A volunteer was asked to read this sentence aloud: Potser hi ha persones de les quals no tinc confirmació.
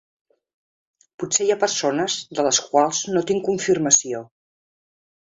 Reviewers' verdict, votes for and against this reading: accepted, 2, 0